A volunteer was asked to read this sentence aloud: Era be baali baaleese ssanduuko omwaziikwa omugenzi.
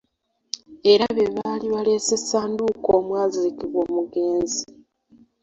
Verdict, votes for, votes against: rejected, 0, 2